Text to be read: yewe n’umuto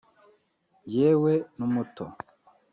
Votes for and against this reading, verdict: 0, 2, rejected